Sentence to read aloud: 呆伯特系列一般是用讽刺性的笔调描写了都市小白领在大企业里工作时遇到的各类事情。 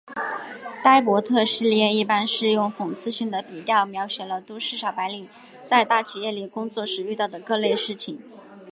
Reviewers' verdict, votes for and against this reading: accepted, 5, 0